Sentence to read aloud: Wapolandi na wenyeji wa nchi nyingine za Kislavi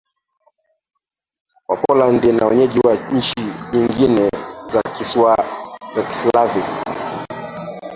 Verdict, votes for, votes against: rejected, 0, 2